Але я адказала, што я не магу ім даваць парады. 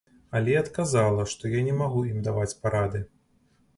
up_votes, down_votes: 2, 1